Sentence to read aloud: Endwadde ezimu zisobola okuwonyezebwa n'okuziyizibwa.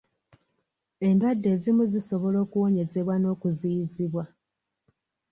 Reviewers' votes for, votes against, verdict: 2, 0, accepted